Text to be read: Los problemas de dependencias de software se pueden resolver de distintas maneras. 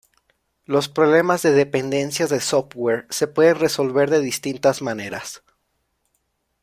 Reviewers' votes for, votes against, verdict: 2, 0, accepted